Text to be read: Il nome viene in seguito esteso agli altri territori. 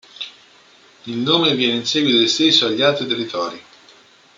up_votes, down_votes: 0, 2